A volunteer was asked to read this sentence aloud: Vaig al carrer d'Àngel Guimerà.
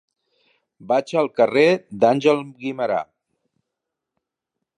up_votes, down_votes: 3, 0